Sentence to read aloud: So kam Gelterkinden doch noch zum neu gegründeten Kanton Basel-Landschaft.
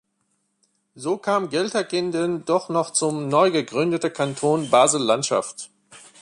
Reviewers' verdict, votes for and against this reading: rejected, 0, 2